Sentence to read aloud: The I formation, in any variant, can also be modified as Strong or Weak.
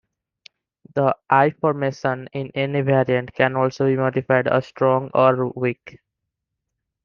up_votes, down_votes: 1, 2